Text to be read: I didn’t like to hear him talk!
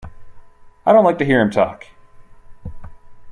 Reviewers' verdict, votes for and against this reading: accepted, 2, 1